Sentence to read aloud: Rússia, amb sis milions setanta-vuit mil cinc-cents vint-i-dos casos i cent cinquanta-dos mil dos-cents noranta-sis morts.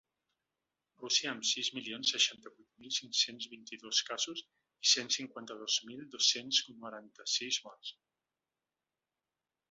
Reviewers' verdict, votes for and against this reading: rejected, 2, 3